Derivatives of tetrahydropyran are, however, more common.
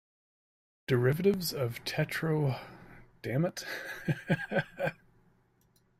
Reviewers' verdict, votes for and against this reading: rejected, 1, 2